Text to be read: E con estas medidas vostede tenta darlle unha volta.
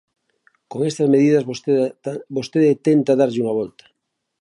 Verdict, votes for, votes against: rejected, 0, 2